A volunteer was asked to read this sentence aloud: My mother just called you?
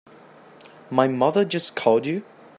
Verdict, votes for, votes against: accepted, 2, 0